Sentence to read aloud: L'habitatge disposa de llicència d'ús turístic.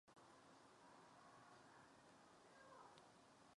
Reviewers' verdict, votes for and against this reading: rejected, 1, 2